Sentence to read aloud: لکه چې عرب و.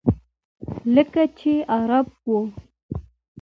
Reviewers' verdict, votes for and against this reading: accepted, 2, 1